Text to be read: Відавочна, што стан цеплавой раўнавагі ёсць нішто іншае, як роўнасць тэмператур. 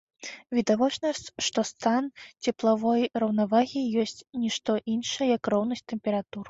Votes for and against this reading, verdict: 1, 2, rejected